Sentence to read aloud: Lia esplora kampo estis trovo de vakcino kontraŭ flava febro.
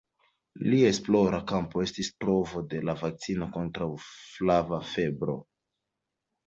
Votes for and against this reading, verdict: 2, 0, accepted